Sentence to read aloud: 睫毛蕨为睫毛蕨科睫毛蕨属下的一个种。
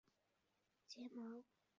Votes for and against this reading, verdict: 0, 2, rejected